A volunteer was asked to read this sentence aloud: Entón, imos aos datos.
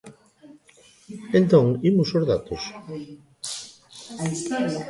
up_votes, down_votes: 0, 2